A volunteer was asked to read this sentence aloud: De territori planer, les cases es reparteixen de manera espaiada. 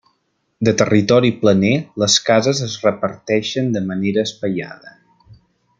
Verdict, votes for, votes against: accepted, 3, 0